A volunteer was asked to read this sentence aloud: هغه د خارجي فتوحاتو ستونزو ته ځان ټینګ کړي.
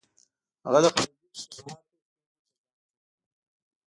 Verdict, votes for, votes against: rejected, 0, 2